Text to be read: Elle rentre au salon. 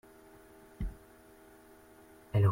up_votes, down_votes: 0, 2